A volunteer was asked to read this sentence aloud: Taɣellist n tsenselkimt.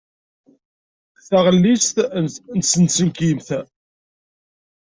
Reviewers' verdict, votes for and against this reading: rejected, 1, 2